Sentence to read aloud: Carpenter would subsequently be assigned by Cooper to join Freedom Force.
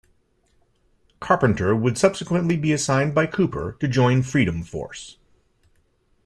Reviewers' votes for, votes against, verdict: 2, 0, accepted